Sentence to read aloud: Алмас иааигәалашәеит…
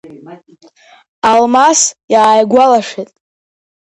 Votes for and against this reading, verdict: 1, 2, rejected